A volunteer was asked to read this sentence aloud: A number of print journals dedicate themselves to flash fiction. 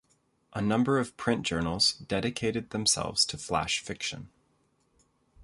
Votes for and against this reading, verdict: 0, 2, rejected